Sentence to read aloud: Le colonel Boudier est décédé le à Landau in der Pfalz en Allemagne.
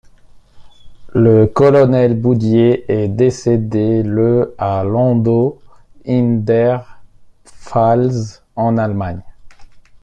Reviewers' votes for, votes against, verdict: 2, 0, accepted